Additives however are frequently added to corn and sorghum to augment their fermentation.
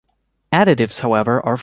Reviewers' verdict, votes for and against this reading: rejected, 0, 2